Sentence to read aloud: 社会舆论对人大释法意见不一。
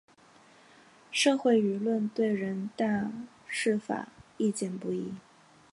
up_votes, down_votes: 6, 0